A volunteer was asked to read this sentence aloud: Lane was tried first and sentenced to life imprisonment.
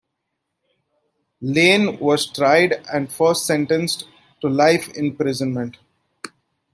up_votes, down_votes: 1, 2